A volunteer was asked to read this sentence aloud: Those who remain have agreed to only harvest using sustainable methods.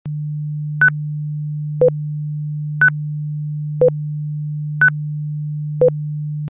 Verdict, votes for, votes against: rejected, 0, 2